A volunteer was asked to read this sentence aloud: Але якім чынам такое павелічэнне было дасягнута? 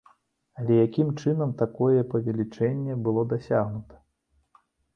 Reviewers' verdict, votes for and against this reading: accepted, 2, 0